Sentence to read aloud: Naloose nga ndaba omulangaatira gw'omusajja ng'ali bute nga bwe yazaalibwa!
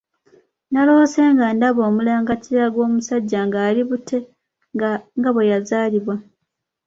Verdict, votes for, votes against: accepted, 2, 1